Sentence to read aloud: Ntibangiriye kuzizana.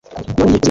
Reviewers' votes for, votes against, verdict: 1, 2, rejected